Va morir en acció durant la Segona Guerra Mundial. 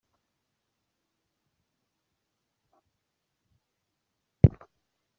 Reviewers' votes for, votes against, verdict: 0, 2, rejected